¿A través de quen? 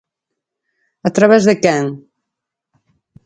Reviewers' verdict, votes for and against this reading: accepted, 4, 0